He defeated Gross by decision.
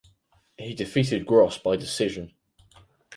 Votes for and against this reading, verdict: 6, 0, accepted